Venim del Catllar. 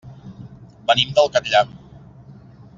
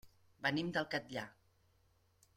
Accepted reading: second